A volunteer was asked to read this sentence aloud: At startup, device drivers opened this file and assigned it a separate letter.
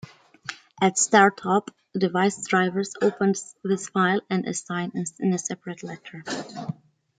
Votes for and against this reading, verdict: 2, 0, accepted